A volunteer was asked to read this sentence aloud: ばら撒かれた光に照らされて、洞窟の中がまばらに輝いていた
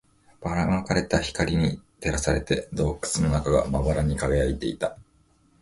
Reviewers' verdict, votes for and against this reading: accepted, 4, 0